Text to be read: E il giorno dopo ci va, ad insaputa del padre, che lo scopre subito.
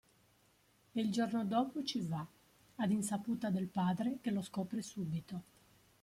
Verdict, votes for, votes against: accepted, 3, 0